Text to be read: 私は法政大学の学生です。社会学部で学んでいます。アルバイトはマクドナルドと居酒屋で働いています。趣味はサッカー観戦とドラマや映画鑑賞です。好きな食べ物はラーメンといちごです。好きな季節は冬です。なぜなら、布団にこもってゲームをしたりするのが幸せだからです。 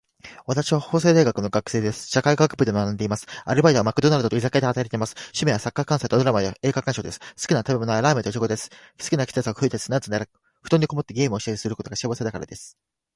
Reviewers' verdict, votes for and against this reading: accepted, 2, 1